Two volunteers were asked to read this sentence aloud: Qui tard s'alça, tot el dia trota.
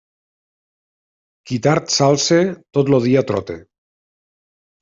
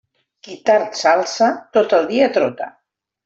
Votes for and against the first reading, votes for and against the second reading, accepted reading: 1, 2, 3, 1, second